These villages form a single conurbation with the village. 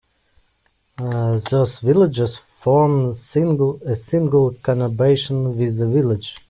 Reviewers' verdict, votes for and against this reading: rejected, 0, 2